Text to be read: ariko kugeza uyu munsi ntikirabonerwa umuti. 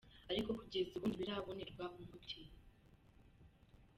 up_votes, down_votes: 1, 2